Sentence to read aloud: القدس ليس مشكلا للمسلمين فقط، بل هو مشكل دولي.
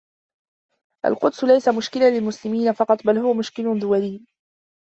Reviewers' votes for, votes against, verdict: 2, 0, accepted